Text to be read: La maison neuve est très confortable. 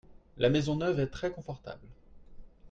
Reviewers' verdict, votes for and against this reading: accepted, 2, 0